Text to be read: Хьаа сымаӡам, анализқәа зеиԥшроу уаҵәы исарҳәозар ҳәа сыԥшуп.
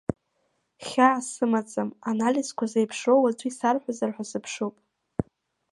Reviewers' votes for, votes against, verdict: 2, 1, accepted